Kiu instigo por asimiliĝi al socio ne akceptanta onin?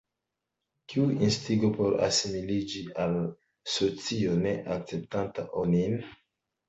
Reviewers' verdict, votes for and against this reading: accepted, 2, 0